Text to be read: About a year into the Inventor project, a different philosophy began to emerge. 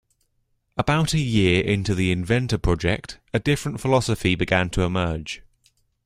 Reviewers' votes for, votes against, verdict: 1, 2, rejected